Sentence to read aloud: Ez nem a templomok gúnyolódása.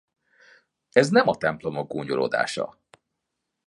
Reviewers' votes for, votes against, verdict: 2, 0, accepted